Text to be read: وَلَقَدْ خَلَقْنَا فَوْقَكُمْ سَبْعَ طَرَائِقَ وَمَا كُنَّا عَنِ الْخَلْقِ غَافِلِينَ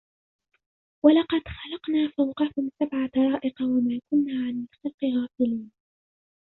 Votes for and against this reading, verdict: 0, 2, rejected